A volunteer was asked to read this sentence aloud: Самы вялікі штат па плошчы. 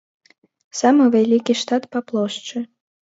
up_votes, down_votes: 2, 0